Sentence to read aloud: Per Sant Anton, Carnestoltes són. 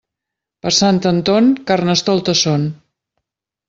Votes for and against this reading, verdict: 2, 0, accepted